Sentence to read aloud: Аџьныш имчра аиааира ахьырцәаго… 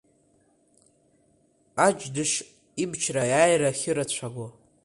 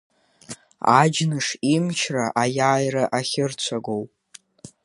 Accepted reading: second